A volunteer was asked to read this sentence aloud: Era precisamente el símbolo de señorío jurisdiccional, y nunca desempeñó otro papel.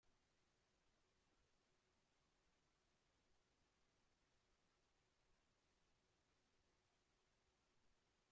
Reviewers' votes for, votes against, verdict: 0, 2, rejected